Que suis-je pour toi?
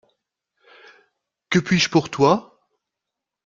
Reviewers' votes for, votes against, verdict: 1, 2, rejected